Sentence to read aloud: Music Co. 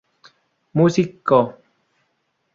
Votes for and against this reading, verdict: 0, 2, rejected